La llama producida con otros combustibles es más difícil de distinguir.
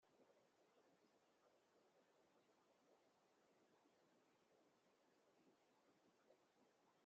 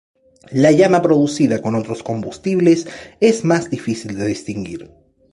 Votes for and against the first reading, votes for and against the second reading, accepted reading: 0, 2, 2, 0, second